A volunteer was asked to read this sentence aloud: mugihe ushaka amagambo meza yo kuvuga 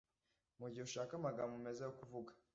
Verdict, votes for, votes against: accepted, 2, 0